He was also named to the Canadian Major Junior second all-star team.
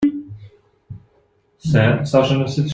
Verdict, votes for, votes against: rejected, 0, 2